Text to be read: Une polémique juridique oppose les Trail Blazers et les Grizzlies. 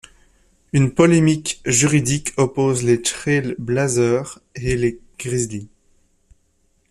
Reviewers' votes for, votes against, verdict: 1, 2, rejected